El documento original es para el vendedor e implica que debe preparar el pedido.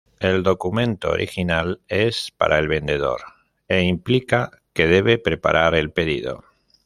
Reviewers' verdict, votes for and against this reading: accepted, 2, 0